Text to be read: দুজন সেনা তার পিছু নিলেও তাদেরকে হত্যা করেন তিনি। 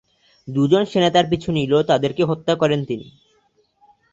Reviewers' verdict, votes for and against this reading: rejected, 4, 4